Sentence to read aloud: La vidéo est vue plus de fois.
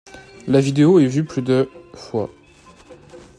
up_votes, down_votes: 2, 0